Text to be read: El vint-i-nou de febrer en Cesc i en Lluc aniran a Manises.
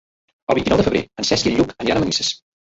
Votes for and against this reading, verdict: 0, 2, rejected